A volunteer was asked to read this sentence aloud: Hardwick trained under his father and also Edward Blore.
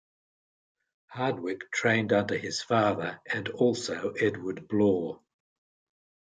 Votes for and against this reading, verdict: 2, 0, accepted